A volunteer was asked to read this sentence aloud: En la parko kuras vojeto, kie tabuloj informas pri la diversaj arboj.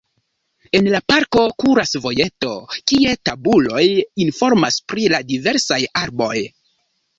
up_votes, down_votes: 1, 2